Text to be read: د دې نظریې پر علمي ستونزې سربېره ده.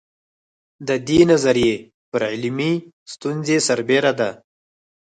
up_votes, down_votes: 4, 0